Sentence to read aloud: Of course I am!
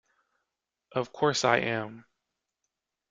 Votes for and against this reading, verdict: 2, 0, accepted